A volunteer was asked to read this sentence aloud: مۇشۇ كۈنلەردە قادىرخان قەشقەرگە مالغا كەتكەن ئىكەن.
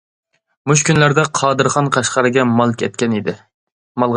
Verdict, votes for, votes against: rejected, 0, 2